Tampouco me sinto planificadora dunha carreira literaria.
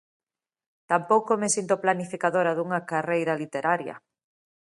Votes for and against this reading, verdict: 2, 0, accepted